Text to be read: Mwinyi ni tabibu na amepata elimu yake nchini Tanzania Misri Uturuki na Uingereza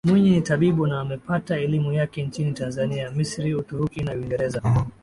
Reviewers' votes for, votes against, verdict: 2, 1, accepted